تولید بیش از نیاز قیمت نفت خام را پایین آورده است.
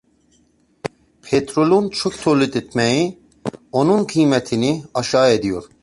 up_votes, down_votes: 0, 2